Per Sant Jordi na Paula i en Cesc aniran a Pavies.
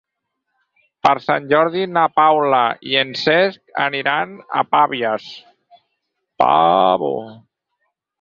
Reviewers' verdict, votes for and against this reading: rejected, 0, 4